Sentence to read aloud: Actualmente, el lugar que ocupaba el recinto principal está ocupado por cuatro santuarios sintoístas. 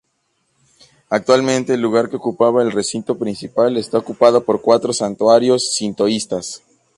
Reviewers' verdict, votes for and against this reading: accepted, 2, 0